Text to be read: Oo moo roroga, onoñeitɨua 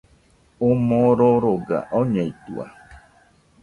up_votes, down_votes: 1, 2